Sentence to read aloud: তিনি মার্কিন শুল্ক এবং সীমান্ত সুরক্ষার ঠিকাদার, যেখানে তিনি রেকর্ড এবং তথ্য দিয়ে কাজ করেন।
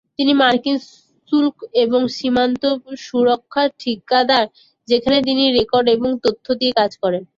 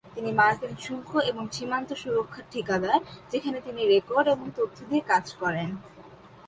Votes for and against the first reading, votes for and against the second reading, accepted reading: 2, 8, 2, 1, second